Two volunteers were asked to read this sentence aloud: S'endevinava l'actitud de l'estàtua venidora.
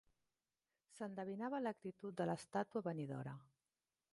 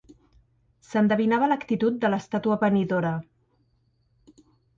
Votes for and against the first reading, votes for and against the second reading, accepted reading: 0, 2, 3, 0, second